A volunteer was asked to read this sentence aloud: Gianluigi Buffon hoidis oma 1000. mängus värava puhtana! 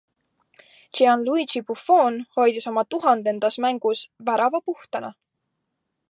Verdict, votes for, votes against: rejected, 0, 2